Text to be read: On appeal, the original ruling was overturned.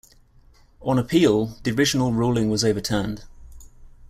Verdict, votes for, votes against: accepted, 2, 0